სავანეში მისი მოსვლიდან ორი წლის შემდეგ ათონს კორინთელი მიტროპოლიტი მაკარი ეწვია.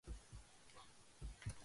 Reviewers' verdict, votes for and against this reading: rejected, 0, 2